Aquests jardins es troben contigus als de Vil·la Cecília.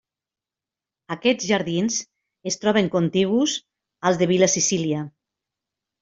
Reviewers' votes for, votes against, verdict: 2, 0, accepted